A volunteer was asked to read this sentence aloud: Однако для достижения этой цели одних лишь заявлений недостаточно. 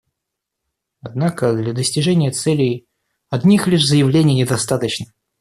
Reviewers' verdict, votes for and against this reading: rejected, 0, 2